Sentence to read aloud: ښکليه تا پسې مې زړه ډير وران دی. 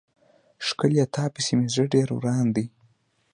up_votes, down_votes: 1, 2